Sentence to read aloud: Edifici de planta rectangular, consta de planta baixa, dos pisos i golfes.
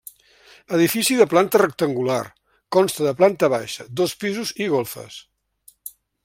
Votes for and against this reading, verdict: 3, 0, accepted